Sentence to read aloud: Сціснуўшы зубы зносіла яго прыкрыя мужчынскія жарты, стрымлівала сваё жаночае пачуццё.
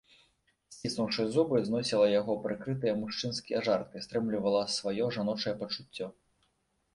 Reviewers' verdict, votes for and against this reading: rejected, 0, 2